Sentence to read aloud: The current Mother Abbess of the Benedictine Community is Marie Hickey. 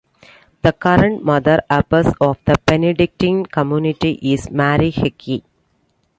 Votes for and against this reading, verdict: 2, 0, accepted